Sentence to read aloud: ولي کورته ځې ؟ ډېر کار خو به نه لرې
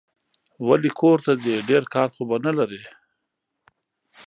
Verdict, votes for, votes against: accepted, 2, 1